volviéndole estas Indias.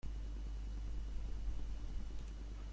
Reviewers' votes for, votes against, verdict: 0, 2, rejected